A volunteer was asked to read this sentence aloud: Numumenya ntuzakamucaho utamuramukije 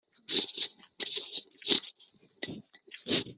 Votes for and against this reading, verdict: 1, 2, rejected